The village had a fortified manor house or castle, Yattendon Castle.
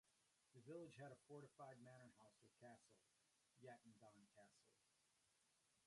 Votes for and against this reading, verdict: 0, 2, rejected